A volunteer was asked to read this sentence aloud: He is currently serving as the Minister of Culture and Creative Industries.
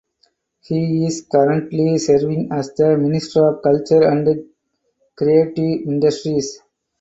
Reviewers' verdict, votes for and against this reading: accepted, 4, 2